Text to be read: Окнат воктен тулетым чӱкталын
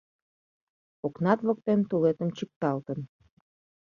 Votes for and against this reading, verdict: 1, 2, rejected